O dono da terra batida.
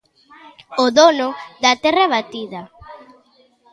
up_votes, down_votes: 0, 2